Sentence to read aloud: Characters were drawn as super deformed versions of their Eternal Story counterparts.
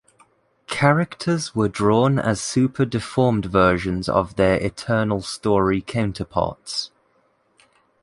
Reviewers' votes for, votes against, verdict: 2, 0, accepted